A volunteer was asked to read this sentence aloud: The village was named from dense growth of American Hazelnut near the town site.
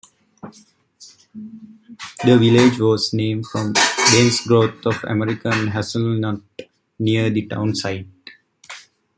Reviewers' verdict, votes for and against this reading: rejected, 1, 2